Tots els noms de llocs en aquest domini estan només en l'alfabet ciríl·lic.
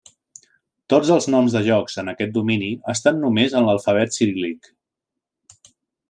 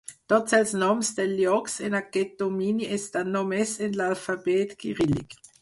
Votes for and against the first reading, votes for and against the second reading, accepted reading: 2, 0, 2, 4, first